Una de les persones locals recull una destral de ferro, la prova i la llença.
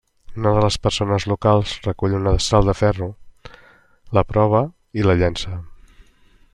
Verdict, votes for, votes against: accepted, 2, 0